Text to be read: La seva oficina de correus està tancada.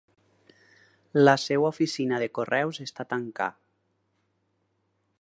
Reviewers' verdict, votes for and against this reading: rejected, 2, 4